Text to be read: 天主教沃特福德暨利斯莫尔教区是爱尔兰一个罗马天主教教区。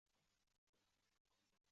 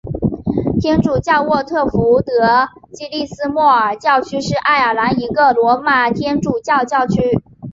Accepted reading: second